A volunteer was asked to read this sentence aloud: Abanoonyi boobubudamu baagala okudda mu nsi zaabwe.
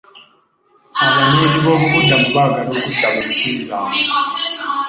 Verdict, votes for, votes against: rejected, 1, 2